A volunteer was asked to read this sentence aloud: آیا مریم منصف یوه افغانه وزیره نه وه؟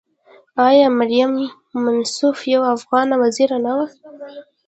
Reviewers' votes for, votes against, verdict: 0, 2, rejected